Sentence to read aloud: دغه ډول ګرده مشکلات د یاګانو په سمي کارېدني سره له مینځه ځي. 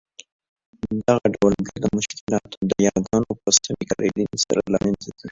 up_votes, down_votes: 0, 2